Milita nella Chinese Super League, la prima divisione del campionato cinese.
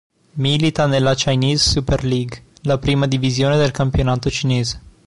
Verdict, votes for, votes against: accepted, 2, 0